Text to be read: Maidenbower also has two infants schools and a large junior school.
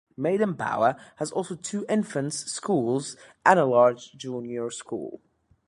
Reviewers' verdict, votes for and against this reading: rejected, 1, 2